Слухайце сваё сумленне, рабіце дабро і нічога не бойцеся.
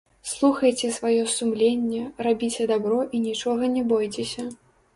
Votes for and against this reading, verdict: 1, 2, rejected